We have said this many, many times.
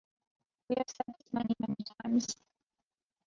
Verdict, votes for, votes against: accepted, 2, 0